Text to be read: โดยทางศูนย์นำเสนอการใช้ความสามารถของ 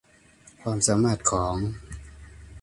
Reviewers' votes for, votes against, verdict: 0, 2, rejected